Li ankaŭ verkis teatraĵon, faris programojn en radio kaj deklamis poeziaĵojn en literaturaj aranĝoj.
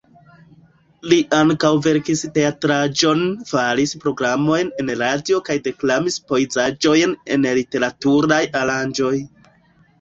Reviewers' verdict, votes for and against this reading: rejected, 0, 3